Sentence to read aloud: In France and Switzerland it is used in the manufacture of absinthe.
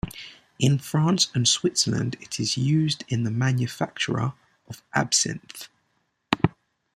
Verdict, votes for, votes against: rejected, 0, 2